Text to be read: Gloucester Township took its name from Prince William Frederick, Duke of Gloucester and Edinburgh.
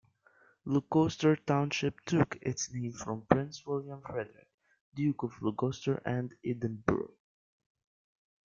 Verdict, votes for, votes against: rejected, 0, 2